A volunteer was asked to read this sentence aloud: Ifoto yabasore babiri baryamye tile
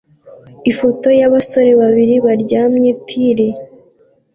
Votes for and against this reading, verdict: 2, 0, accepted